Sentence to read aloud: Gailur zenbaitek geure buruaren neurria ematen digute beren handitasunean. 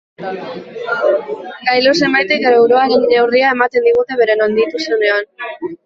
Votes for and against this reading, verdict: 1, 2, rejected